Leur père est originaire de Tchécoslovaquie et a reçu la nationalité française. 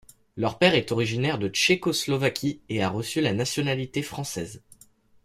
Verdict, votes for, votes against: accepted, 2, 0